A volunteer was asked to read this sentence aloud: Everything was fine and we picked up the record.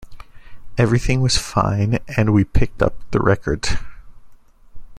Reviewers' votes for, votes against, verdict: 2, 0, accepted